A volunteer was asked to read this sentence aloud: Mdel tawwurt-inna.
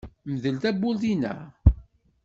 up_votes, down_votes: 2, 0